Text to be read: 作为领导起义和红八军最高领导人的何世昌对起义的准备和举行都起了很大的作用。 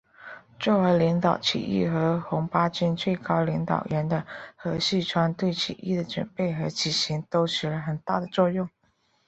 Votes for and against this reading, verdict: 3, 1, accepted